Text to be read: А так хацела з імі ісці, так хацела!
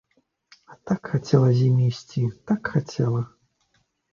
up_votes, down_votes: 3, 0